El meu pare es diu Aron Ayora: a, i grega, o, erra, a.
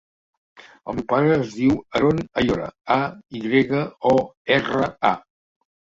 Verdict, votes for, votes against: rejected, 0, 2